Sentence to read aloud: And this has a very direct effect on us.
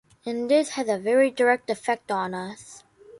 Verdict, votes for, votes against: accepted, 3, 0